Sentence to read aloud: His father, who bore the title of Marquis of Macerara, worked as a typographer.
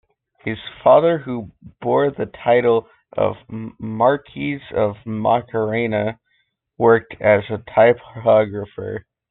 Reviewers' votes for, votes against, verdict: 0, 2, rejected